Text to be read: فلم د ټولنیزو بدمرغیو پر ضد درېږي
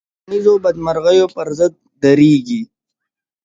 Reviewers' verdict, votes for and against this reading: accepted, 2, 0